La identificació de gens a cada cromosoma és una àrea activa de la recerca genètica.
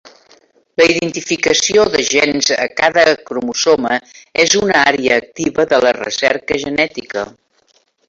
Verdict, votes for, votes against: rejected, 0, 3